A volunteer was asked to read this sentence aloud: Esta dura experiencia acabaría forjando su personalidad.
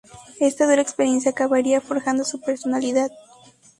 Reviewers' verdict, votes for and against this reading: accepted, 2, 0